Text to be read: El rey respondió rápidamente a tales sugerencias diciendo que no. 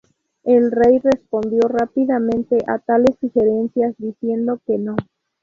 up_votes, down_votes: 2, 0